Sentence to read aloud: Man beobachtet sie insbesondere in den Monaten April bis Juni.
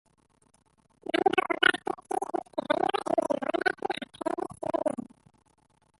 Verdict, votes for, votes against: rejected, 0, 2